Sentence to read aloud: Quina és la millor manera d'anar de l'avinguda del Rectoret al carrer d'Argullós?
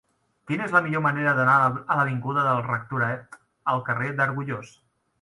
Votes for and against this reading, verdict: 0, 2, rejected